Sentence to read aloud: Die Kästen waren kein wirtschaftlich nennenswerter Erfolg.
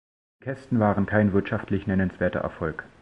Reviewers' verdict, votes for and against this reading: rejected, 0, 2